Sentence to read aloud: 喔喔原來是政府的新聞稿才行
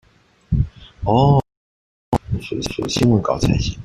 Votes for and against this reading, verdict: 0, 2, rejected